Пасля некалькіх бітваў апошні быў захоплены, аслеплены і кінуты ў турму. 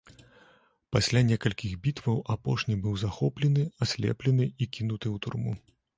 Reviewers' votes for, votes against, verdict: 2, 0, accepted